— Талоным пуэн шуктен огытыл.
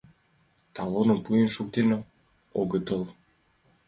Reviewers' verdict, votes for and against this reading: accepted, 2, 0